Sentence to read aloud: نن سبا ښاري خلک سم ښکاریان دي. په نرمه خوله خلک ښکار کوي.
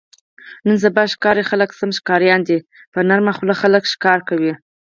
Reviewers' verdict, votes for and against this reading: accepted, 6, 0